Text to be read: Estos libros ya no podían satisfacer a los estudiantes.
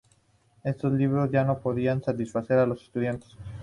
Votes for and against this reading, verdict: 2, 0, accepted